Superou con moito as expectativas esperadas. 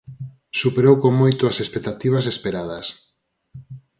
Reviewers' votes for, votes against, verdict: 4, 0, accepted